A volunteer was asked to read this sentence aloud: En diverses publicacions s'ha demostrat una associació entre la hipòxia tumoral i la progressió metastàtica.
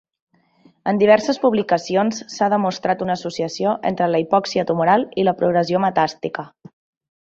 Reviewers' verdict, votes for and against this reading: rejected, 1, 2